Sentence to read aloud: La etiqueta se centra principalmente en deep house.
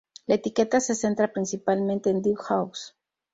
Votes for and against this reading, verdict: 2, 0, accepted